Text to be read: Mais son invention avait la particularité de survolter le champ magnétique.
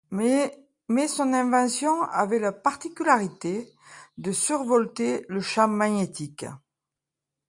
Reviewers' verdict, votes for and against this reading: rejected, 0, 2